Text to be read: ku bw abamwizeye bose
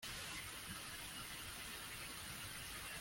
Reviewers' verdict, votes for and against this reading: rejected, 0, 2